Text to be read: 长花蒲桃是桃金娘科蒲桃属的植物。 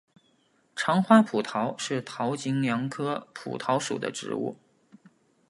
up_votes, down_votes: 2, 0